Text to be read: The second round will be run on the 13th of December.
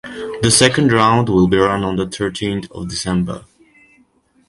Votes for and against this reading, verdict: 0, 2, rejected